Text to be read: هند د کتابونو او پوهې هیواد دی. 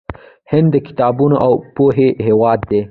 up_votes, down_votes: 2, 1